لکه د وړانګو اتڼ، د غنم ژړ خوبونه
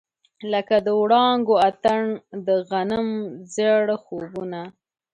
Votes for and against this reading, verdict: 2, 0, accepted